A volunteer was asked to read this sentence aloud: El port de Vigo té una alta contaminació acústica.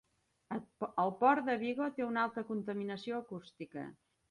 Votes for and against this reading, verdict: 1, 2, rejected